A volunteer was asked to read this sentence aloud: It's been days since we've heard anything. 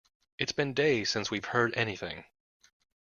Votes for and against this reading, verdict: 2, 0, accepted